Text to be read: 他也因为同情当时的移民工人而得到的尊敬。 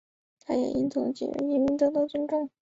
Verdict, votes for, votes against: rejected, 1, 2